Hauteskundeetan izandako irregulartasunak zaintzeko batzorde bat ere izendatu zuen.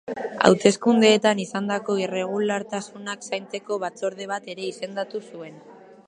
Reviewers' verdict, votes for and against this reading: accepted, 3, 0